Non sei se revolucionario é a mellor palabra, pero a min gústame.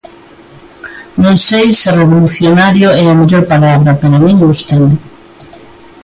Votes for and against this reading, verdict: 1, 2, rejected